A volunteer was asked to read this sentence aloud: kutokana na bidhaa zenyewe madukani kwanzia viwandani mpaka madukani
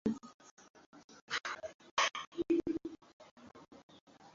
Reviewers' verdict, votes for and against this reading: rejected, 0, 2